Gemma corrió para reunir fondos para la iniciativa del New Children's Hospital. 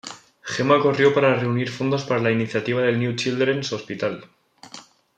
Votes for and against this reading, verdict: 2, 0, accepted